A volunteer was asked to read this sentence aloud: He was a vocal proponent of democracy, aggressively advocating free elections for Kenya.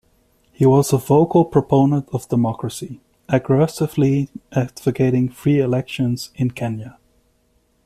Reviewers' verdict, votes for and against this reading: rejected, 1, 2